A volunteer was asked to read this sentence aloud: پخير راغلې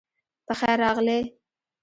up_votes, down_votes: 0, 2